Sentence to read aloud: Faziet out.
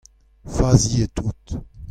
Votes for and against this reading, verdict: 2, 1, accepted